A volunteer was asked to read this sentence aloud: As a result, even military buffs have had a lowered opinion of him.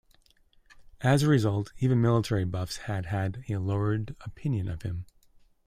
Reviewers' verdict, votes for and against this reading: rejected, 0, 2